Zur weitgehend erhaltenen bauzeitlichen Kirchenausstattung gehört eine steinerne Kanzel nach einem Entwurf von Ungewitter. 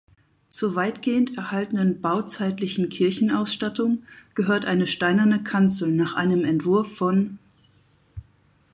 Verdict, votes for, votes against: rejected, 0, 4